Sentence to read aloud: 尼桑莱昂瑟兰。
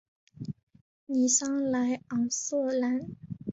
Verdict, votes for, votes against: accepted, 2, 0